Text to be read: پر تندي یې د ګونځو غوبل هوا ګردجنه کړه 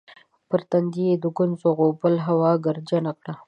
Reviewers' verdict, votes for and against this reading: accepted, 2, 0